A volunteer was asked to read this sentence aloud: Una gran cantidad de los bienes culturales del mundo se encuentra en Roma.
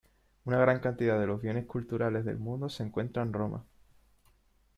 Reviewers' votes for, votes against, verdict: 3, 0, accepted